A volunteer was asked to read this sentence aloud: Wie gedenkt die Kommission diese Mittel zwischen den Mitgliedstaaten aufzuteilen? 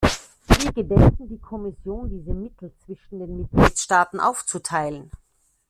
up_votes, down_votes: 1, 2